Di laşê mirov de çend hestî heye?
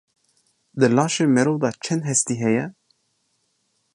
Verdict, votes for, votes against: accepted, 2, 0